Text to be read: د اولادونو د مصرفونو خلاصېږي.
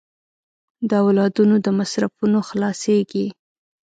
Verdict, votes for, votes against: accepted, 2, 0